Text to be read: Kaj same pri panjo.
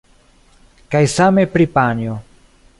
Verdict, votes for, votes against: accepted, 3, 0